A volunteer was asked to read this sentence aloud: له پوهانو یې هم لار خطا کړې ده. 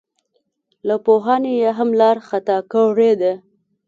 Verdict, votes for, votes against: rejected, 1, 2